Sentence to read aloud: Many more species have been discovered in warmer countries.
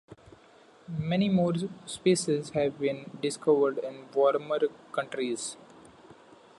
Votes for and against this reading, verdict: 1, 2, rejected